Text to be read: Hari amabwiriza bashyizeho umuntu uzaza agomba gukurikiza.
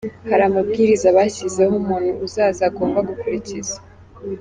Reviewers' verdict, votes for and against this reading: accepted, 2, 1